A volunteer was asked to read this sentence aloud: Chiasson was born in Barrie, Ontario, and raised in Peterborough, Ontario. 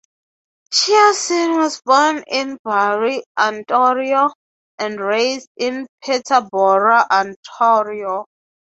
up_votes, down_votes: 3, 0